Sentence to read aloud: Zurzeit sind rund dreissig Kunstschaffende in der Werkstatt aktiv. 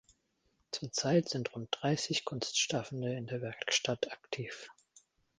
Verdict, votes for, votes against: rejected, 0, 2